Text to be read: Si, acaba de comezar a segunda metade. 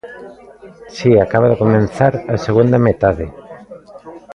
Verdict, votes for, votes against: rejected, 0, 3